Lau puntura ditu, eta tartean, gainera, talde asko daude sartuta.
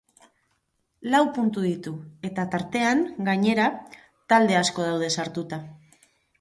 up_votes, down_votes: 2, 8